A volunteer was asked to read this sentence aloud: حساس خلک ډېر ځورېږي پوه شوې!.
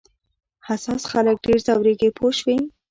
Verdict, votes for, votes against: rejected, 1, 2